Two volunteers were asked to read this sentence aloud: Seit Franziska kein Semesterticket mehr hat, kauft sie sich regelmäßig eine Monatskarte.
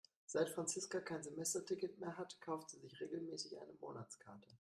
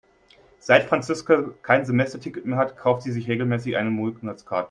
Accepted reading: first